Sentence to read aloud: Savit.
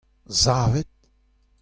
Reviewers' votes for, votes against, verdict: 2, 0, accepted